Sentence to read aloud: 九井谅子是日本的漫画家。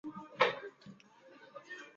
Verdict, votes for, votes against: rejected, 1, 3